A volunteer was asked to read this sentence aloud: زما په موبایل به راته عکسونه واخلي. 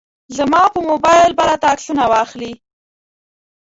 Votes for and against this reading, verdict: 2, 1, accepted